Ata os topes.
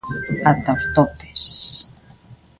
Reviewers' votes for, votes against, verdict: 1, 2, rejected